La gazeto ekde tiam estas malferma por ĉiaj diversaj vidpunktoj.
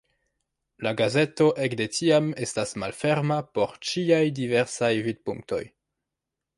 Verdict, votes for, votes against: accepted, 2, 0